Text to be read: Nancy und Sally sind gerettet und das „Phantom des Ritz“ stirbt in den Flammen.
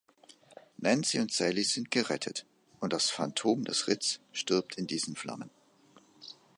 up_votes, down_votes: 0, 3